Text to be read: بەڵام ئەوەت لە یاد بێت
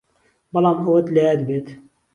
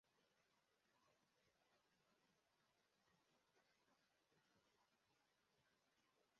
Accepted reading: first